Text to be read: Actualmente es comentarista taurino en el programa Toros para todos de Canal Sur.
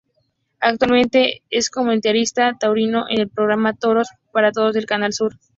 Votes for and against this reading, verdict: 2, 0, accepted